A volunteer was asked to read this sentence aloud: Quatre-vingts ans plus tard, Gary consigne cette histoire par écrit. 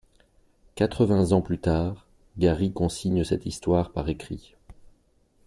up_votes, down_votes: 2, 0